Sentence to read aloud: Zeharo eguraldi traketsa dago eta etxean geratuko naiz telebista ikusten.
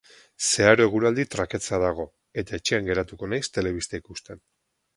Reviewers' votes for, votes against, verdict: 4, 0, accepted